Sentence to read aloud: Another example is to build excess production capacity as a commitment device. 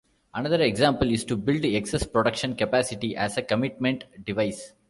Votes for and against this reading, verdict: 0, 2, rejected